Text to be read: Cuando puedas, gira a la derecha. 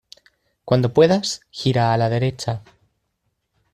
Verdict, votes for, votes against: accepted, 2, 0